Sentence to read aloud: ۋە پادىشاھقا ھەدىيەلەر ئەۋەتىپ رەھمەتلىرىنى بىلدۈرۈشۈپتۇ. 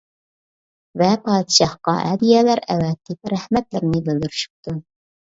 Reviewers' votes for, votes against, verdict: 2, 0, accepted